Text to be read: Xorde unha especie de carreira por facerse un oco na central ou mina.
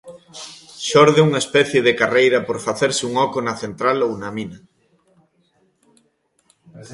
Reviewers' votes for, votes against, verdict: 1, 2, rejected